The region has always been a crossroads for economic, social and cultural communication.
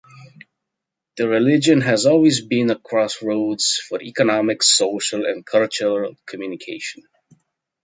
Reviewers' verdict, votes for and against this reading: rejected, 1, 2